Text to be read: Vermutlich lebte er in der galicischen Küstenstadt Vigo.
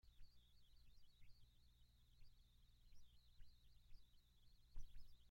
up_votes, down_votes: 0, 2